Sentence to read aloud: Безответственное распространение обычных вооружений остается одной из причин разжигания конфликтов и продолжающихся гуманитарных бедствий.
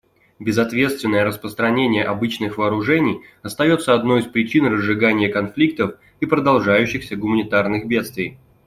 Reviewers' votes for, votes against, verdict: 2, 0, accepted